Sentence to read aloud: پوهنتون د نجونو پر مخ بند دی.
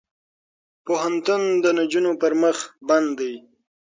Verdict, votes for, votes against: accepted, 6, 0